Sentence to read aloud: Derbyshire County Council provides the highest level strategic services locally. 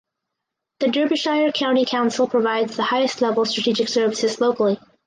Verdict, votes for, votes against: rejected, 0, 6